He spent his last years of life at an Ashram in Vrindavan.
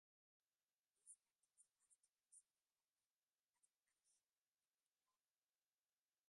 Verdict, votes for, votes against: rejected, 1, 2